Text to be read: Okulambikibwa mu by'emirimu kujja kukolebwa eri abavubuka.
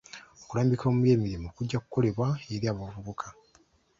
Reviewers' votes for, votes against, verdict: 1, 2, rejected